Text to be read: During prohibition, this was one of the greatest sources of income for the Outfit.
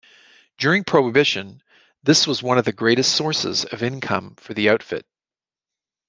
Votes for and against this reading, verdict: 2, 0, accepted